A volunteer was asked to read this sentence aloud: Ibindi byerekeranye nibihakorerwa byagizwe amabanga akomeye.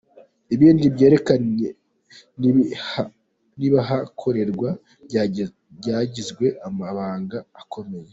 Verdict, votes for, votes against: rejected, 0, 2